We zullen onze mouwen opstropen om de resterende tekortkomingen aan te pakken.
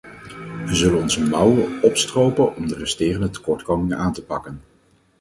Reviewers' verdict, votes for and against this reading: rejected, 2, 4